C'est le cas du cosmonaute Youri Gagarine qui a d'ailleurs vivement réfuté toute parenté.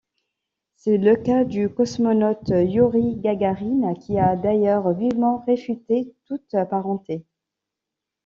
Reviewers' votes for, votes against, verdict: 2, 1, accepted